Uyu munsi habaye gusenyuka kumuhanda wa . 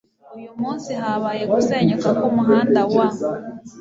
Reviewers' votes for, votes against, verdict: 3, 0, accepted